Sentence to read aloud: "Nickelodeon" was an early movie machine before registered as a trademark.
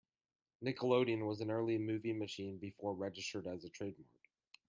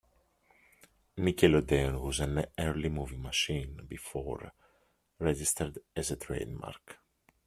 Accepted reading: second